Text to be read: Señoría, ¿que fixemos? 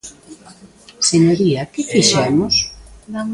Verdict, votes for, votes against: rejected, 0, 2